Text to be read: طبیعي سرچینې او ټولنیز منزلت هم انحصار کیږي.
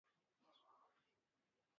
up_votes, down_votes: 1, 2